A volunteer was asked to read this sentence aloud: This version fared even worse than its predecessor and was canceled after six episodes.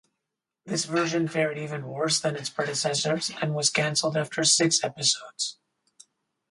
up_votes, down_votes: 2, 2